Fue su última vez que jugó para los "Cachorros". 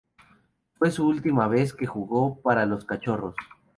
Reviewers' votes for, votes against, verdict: 2, 2, rejected